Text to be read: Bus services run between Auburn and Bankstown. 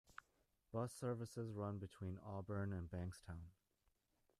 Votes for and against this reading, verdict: 1, 2, rejected